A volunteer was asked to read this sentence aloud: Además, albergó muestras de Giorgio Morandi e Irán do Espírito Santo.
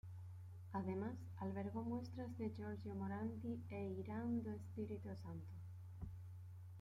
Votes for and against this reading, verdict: 2, 1, accepted